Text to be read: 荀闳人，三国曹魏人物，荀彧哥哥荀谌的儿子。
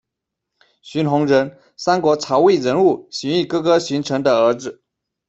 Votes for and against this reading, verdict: 2, 0, accepted